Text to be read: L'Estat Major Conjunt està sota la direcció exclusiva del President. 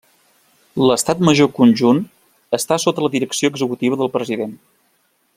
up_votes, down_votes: 1, 2